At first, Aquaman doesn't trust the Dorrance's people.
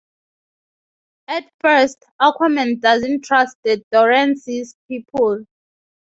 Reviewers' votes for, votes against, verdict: 2, 0, accepted